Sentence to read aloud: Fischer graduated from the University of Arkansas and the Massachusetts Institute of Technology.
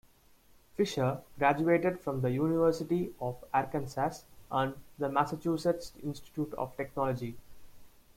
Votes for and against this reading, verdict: 0, 2, rejected